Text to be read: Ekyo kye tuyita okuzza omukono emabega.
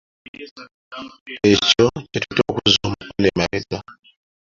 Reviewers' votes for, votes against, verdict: 2, 1, accepted